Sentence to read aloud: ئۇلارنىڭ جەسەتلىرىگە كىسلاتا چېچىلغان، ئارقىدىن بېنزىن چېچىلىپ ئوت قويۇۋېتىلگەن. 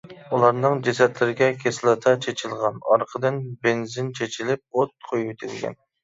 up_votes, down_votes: 2, 0